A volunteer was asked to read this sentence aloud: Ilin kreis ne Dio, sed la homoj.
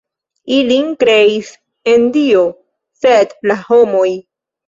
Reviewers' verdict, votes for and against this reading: rejected, 1, 2